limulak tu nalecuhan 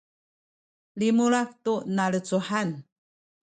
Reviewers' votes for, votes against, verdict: 2, 0, accepted